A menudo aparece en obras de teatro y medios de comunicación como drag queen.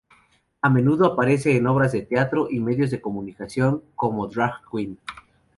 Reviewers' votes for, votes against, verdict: 0, 2, rejected